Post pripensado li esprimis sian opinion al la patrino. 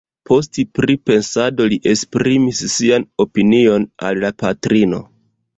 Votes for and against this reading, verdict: 2, 0, accepted